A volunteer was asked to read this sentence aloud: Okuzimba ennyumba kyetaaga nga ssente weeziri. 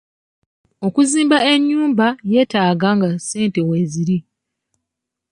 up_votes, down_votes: 1, 2